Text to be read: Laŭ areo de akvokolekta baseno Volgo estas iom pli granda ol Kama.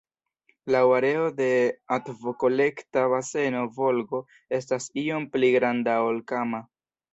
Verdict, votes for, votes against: accepted, 2, 0